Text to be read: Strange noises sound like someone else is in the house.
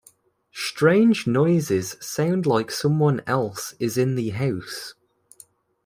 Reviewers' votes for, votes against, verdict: 2, 0, accepted